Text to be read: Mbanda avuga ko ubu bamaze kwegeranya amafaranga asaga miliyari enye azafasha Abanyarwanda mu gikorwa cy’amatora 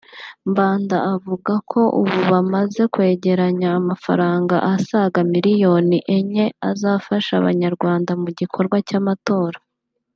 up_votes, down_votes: 0, 2